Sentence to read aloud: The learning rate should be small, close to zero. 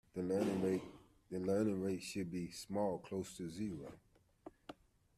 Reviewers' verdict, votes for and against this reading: rejected, 1, 2